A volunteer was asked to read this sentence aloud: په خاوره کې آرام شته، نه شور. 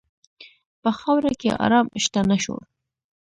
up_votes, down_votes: 2, 0